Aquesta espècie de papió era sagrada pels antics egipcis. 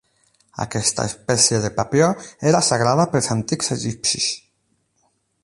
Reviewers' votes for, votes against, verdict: 8, 0, accepted